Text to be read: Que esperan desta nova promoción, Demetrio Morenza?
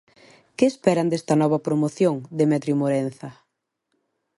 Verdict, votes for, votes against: accepted, 2, 0